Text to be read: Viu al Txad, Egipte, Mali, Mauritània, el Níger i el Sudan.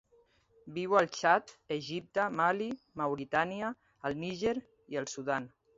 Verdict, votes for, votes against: accepted, 2, 0